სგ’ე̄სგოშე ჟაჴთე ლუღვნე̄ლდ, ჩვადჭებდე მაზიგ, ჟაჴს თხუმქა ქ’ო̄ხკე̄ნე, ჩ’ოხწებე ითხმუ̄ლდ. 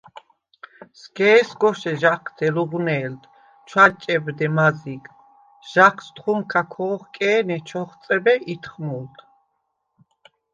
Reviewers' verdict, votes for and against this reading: accepted, 2, 0